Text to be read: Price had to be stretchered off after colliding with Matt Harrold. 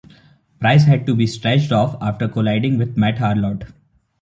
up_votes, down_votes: 0, 2